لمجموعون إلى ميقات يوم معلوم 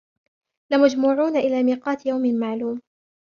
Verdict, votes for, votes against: accepted, 2, 0